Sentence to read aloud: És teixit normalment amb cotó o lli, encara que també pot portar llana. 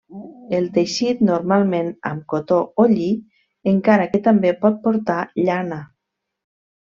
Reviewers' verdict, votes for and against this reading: rejected, 1, 2